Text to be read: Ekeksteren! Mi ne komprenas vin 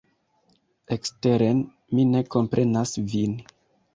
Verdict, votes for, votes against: rejected, 1, 2